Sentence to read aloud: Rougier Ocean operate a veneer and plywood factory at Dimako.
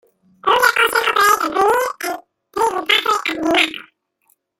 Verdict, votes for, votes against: rejected, 0, 2